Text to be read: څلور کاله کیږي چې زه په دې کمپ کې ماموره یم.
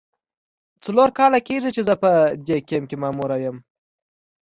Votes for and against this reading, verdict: 2, 0, accepted